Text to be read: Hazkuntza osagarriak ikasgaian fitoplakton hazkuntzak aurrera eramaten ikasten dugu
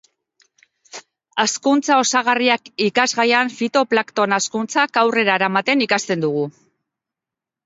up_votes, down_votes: 2, 1